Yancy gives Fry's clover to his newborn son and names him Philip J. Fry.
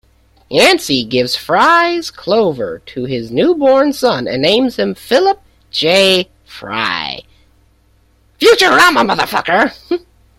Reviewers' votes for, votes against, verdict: 0, 2, rejected